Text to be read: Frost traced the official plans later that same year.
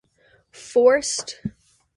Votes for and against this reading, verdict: 0, 2, rejected